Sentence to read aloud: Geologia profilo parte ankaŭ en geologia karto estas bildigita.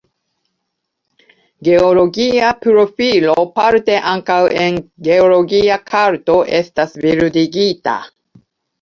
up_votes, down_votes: 2, 0